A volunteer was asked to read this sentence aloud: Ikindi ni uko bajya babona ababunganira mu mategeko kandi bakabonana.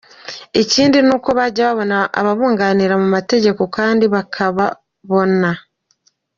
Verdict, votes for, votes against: accepted, 2, 1